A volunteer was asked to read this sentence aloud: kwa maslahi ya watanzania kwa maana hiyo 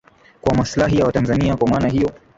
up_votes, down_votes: 0, 2